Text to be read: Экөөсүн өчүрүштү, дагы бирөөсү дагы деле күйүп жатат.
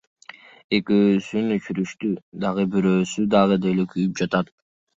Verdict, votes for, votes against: accepted, 2, 0